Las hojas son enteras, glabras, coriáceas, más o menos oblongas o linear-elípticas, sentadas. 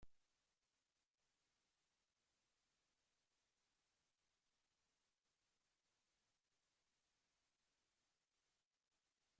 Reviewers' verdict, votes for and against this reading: rejected, 0, 2